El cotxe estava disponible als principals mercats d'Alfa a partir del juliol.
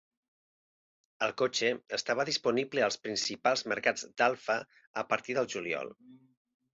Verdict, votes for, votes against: accepted, 3, 0